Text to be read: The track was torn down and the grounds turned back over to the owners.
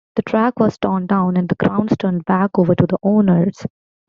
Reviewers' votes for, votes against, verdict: 2, 0, accepted